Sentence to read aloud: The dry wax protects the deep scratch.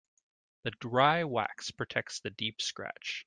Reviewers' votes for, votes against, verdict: 2, 0, accepted